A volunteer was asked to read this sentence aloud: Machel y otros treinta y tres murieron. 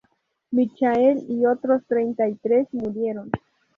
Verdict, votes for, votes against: rejected, 0, 2